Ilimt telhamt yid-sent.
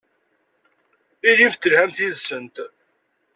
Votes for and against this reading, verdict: 2, 0, accepted